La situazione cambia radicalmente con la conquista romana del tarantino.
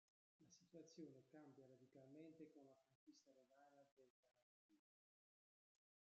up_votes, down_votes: 0, 2